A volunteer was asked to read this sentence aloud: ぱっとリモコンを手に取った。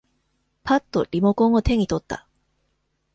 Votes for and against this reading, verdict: 2, 0, accepted